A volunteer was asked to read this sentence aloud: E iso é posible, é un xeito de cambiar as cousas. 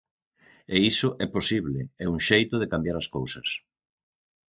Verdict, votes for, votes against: accepted, 6, 0